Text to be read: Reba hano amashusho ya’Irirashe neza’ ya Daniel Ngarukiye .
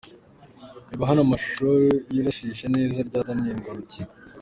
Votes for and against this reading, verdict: 0, 2, rejected